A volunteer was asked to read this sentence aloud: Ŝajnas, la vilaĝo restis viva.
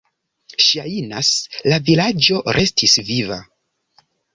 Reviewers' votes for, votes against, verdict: 2, 1, accepted